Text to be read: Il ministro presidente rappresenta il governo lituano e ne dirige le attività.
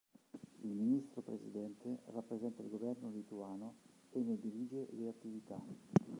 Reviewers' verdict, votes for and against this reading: rejected, 1, 2